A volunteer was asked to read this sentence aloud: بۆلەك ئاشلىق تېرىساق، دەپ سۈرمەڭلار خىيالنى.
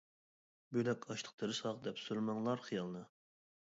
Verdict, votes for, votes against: accepted, 2, 0